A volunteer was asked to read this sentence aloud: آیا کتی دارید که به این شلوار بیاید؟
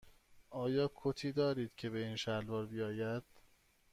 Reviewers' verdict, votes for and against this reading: accepted, 2, 0